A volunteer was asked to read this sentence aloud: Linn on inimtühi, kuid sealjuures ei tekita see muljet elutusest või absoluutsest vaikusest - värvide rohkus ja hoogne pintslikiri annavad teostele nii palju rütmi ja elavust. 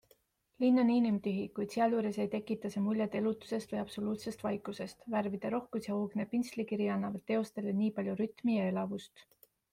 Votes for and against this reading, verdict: 2, 0, accepted